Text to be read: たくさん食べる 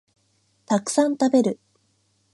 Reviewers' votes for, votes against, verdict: 6, 0, accepted